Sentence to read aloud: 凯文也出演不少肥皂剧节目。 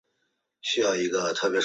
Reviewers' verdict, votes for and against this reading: rejected, 0, 2